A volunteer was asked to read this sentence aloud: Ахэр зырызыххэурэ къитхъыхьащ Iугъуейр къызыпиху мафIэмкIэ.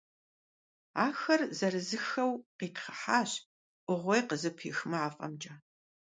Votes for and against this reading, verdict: 1, 2, rejected